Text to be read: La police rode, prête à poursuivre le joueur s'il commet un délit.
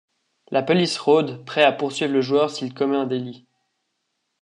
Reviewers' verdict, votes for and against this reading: rejected, 0, 2